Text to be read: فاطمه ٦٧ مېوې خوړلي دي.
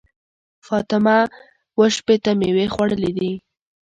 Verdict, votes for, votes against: rejected, 0, 2